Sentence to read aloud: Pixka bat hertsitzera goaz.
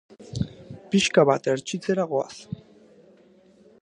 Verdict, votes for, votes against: accepted, 2, 0